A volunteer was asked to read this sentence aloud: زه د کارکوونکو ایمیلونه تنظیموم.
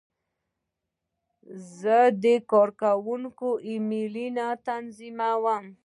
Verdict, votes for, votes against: accepted, 2, 0